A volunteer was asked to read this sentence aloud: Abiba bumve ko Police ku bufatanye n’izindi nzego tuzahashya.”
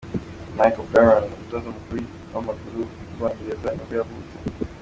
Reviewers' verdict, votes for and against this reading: rejected, 0, 2